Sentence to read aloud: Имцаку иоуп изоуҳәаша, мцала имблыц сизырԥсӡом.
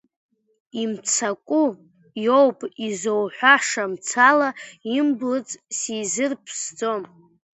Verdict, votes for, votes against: rejected, 1, 2